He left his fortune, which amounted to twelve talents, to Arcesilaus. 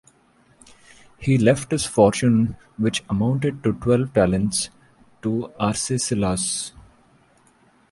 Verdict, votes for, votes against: accepted, 2, 0